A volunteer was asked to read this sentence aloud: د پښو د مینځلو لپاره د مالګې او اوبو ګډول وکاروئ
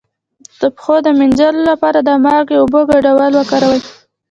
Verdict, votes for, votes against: rejected, 0, 2